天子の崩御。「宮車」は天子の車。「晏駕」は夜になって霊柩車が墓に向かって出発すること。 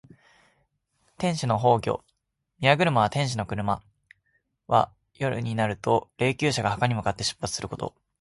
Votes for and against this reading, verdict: 2, 1, accepted